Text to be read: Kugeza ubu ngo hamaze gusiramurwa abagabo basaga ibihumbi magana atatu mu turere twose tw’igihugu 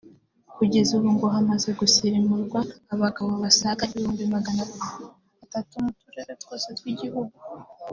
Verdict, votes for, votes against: rejected, 0, 3